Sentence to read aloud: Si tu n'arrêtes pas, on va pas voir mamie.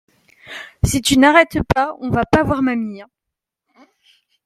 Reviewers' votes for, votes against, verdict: 2, 0, accepted